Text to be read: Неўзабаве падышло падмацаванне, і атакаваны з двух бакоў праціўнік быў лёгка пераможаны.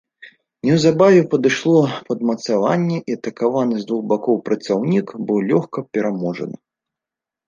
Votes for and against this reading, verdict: 0, 2, rejected